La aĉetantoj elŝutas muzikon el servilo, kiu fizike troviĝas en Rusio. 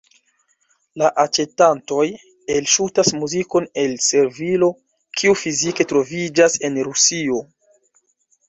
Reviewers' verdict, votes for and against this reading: rejected, 0, 2